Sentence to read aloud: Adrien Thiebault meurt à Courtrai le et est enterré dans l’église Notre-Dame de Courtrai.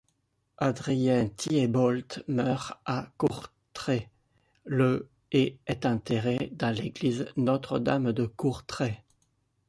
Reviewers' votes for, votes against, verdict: 0, 2, rejected